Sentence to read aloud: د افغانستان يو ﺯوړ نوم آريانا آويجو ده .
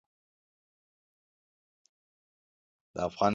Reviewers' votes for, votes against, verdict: 0, 2, rejected